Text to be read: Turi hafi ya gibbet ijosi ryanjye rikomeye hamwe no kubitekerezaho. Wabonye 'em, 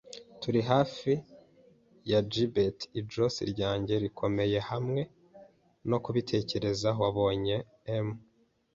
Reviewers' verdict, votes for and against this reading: accepted, 2, 0